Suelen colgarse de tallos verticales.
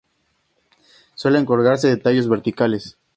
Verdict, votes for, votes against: accepted, 2, 0